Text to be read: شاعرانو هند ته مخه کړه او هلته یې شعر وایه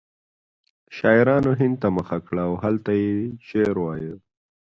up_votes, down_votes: 2, 0